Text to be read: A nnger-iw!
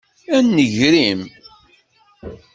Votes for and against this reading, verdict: 2, 0, accepted